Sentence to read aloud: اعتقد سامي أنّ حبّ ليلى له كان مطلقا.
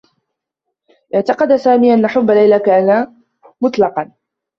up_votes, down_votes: 1, 2